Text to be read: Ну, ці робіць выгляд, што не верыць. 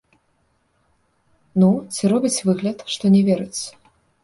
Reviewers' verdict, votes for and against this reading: accepted, 2, 0